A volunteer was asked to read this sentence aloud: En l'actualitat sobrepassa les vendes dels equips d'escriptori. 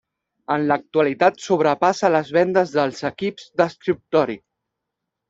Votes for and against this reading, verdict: 3, 1, accepted